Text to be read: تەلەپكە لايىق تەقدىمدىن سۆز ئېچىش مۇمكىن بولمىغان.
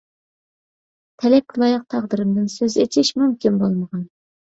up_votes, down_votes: 1, 2